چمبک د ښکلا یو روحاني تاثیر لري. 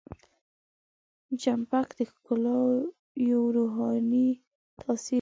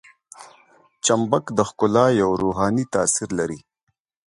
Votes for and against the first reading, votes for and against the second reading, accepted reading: 2, 4, 2, 0, second